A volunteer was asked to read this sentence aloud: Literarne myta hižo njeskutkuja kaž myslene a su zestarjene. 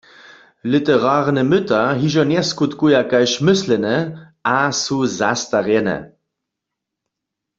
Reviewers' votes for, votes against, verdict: 1, 2, rejected